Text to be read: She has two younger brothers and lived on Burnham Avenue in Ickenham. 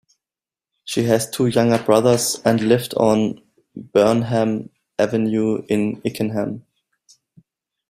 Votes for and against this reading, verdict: 2, 0, accepted